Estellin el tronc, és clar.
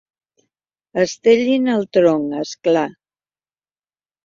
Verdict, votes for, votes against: accepted, 2, 0